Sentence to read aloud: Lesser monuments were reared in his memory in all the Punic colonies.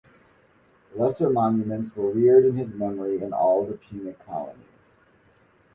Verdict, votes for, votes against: rejected, 1, 2